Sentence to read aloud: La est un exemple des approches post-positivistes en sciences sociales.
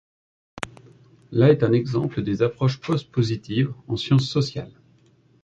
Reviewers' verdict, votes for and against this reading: rejected, 1, 2